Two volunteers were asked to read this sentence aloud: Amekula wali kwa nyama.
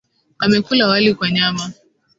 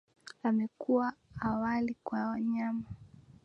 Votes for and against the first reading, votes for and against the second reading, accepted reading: 2, 0, 1, 2, first